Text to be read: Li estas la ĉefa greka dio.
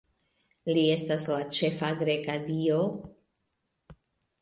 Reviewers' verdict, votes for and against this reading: accepted, 2, 0